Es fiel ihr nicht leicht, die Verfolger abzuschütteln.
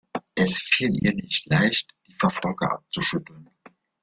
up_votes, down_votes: 1, 2